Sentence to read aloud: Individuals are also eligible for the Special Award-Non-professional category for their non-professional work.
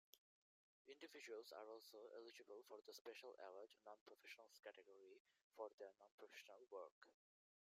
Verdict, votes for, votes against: rejected, 0, 2